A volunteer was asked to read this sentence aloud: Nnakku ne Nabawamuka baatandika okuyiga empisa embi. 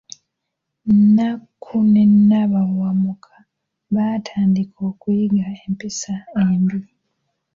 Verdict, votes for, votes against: accepted, 2, 1